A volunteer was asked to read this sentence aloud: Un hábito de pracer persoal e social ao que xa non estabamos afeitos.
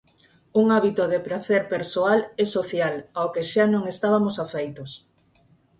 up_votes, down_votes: 0, 4